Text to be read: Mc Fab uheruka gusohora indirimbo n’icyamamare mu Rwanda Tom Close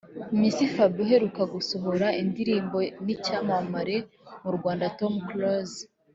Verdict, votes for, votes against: accepted, 2, 0